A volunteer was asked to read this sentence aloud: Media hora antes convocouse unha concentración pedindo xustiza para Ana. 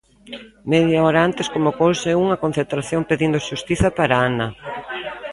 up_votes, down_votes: 1, 2